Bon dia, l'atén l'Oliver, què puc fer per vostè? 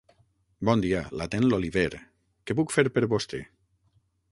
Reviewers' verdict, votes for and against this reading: rejected, 0, 6